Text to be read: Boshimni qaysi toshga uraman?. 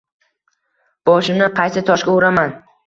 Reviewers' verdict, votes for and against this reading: rejected, 1, 2